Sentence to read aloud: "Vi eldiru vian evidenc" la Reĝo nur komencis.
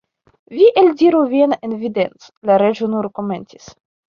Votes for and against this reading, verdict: 2, 0, accepted